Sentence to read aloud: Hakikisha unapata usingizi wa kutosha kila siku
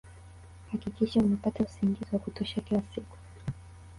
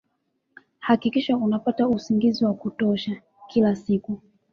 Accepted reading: second